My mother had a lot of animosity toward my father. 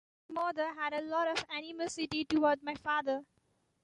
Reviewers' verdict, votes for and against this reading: rejected, 1, 2